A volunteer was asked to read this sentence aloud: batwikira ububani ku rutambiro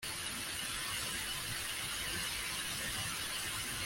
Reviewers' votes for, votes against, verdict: 1, 2, rejected